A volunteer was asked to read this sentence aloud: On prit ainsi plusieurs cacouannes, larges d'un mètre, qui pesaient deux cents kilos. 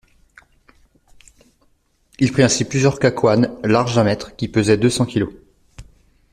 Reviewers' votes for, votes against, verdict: 0, 2, rejected